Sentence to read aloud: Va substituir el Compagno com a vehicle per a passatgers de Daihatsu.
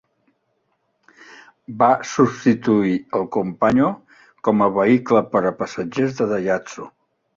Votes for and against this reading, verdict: 3, 1, accepted